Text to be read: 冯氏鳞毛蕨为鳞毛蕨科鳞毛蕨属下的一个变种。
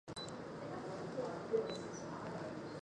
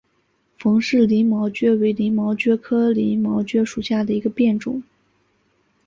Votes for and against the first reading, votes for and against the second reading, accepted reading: 0, 4, 3, 0, second